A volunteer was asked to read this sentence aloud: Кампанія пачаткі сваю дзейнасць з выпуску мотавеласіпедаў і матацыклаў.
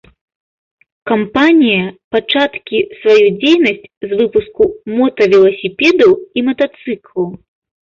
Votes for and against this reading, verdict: 0, 2, rejected